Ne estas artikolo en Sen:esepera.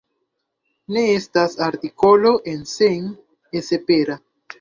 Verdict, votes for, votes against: accepted, 2, 0